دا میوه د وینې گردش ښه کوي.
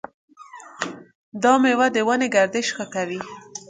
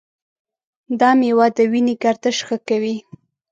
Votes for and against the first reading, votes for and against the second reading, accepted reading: 1, 2, 2, 0, second